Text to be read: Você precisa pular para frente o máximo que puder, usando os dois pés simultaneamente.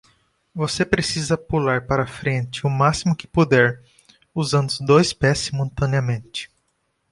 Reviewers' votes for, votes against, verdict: 2, 0, accepted